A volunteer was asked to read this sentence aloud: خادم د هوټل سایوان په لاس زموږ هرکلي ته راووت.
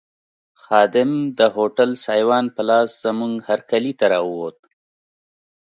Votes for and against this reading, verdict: 2, 0, accepted